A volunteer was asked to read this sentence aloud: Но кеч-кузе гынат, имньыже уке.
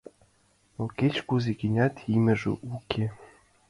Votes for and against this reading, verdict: 2, 1, accepted